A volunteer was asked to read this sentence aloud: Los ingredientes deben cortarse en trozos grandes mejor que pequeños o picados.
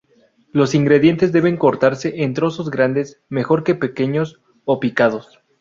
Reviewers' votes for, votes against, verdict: 0, 2, rejected